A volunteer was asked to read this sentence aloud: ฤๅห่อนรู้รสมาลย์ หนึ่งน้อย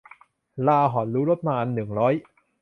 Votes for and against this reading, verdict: 0, 2, rejected